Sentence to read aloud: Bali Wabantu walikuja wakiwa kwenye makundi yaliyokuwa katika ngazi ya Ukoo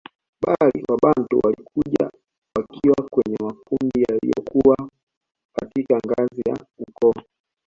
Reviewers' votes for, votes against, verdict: 0, 2, rejected